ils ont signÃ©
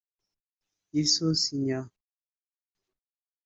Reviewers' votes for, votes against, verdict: 1, 2, rejected